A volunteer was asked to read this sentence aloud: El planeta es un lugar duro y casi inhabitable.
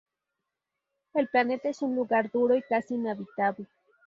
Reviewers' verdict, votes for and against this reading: rejected, 2, 2